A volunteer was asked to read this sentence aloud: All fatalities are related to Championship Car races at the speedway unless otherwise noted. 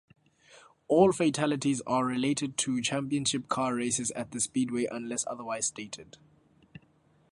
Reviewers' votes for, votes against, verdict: 0, 2, rejected